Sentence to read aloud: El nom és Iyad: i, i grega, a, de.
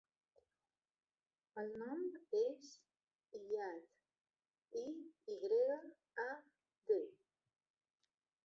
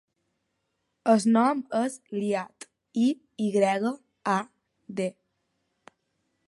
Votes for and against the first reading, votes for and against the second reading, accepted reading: 0, 2, 10, 0, second